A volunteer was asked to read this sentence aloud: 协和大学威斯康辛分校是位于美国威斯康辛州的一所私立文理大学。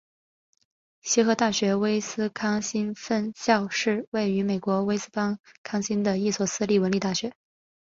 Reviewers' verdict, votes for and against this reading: accepted, 3, 2